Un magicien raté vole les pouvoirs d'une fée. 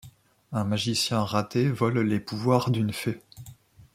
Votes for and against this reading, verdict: 0, 2, rejected